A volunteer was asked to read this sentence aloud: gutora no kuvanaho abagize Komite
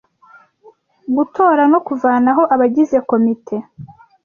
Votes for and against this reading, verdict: 2, 0, accepted